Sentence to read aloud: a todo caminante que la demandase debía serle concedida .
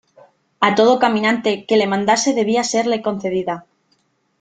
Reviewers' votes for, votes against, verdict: 1, 3, rejected